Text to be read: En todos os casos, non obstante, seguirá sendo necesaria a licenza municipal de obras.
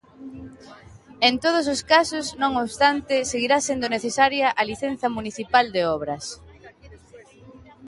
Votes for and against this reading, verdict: 2, 0, accepted